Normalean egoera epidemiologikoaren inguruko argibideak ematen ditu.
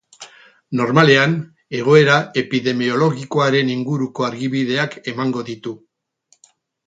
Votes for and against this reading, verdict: 4, 4, rejected